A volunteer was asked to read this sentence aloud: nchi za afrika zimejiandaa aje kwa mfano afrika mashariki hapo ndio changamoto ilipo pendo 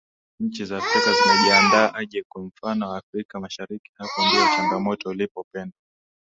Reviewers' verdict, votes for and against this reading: rejected, 0, 2